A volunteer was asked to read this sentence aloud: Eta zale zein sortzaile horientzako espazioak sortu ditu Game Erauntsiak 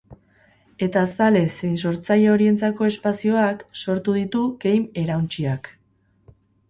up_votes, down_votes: 6, 10